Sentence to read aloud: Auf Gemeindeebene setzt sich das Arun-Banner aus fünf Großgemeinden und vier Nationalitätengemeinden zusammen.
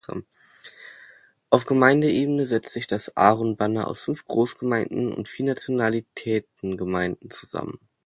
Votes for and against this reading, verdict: 2, 0, accepted